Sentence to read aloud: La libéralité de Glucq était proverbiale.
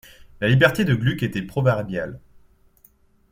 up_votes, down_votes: 0, 2